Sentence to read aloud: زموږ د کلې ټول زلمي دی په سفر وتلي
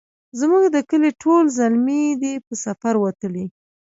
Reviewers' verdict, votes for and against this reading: rejected, 0, 2